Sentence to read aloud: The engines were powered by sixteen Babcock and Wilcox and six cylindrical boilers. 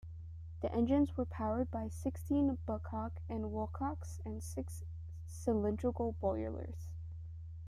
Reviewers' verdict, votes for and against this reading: accepted, 3, 2